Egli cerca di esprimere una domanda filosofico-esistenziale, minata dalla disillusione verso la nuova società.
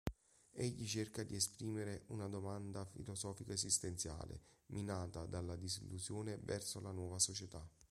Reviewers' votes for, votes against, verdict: 2, 0, accepted